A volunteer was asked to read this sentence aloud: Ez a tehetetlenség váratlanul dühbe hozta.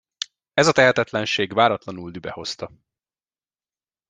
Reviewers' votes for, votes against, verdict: 2, 0, accepted